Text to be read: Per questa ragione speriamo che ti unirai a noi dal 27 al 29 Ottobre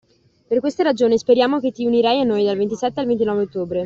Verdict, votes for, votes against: rejected, 0, 2